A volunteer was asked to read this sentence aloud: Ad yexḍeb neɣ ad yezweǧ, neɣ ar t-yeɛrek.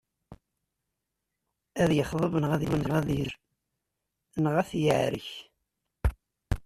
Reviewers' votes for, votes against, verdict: 0, 2, rejected